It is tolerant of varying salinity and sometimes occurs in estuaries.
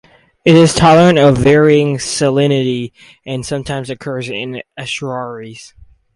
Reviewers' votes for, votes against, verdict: 4, 0, accepted